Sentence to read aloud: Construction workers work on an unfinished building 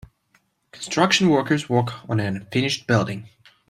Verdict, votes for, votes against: rejected, 0, 2